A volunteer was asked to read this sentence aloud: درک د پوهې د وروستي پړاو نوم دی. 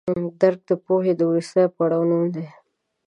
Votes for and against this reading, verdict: 1, 2, rejected